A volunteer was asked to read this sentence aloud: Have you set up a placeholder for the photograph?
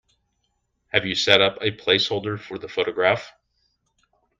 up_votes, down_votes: 2, 1